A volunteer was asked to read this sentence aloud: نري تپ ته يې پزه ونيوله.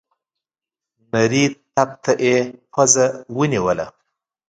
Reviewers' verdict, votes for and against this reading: accepted, 3, 1